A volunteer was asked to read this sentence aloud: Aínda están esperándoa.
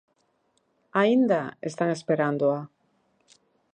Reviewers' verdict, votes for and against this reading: accepted, 2, 0